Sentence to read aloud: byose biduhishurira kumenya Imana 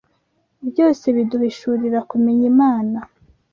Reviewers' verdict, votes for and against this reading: accepted, 2, 0